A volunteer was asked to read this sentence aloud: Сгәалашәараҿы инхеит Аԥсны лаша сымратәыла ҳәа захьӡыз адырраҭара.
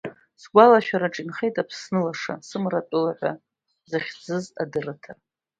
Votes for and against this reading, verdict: 2, 1, accepted